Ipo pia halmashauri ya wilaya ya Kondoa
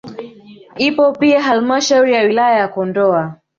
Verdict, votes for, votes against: accepted, 2, 0